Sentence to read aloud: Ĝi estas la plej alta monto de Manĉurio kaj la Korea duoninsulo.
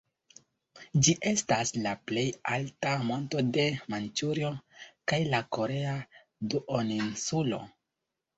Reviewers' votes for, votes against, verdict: 2, 1, accepted